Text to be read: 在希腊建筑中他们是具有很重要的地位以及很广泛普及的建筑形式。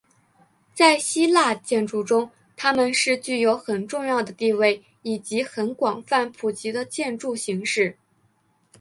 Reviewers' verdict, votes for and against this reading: accepted, 2, 0